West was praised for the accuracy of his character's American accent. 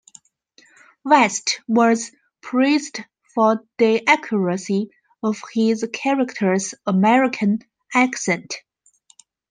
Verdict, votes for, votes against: accepted, 2, 0